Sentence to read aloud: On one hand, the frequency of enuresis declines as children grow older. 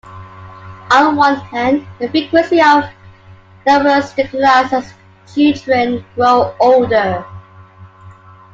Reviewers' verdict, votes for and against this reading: rejected, 0, 2